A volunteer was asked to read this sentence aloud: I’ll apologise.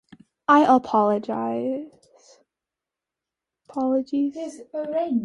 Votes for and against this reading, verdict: 0, 2, rejected